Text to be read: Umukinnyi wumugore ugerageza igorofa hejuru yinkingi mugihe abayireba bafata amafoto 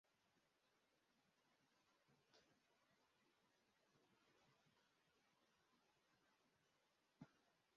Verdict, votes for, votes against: rejected, 0, 2